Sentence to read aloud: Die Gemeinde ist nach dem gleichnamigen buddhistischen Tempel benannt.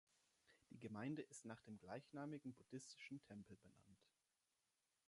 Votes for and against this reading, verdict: 3, 0, accepted